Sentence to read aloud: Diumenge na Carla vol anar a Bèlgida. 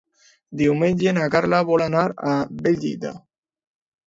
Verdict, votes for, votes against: accepted, 2, 1